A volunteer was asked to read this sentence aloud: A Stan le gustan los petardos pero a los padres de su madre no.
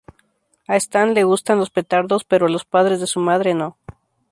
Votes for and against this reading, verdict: 2, 0, accepted